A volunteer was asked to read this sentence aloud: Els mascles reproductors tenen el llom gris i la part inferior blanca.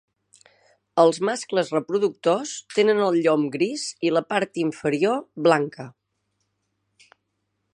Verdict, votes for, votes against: accepted, 3, 0